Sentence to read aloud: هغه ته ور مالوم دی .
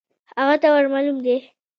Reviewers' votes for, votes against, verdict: 1, 2, rejected